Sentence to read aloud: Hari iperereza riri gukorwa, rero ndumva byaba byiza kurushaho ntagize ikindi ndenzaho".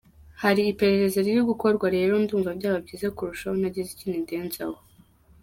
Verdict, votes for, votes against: rejected, 0, 2